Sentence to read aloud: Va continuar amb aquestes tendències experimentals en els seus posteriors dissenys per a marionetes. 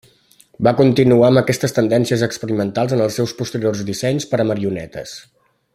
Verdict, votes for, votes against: accepted, 3, 0